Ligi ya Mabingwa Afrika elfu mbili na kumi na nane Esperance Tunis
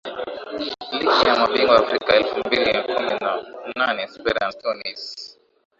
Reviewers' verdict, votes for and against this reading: rejected, 3, 11